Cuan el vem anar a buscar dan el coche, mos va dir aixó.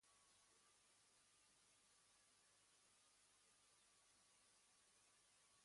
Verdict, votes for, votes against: rejected, 1, 2